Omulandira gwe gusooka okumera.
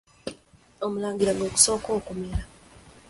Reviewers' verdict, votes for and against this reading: rejected, 1, 2